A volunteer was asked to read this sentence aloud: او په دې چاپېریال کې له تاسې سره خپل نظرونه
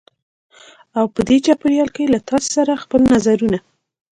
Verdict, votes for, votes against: accepted, 2, 1